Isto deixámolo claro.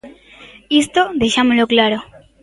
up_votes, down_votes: 2, 1